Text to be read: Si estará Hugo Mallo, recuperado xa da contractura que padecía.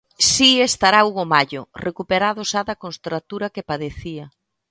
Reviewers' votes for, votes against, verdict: 0, 2, rejected